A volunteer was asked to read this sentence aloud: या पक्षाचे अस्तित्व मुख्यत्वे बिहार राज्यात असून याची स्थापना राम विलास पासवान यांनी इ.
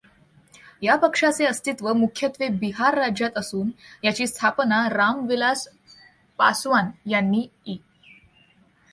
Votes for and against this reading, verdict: 0, 2, rejected